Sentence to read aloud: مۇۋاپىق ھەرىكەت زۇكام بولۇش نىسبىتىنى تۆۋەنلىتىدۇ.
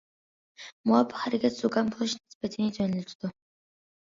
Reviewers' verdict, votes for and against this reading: accepted, 2, 0